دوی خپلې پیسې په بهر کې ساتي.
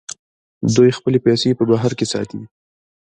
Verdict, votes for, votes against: rejected, 1, 2